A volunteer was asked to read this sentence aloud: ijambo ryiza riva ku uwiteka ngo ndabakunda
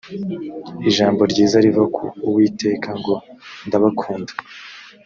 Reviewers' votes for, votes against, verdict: 2, 0, accepted